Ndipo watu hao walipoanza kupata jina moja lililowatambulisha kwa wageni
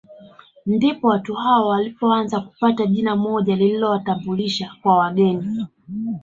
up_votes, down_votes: 1, 3